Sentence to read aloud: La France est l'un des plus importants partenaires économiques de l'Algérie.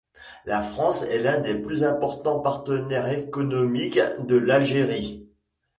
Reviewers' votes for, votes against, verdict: 2, 0, accepted